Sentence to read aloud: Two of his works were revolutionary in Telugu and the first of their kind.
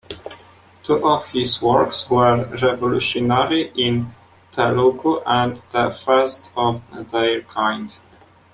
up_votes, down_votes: 0, 2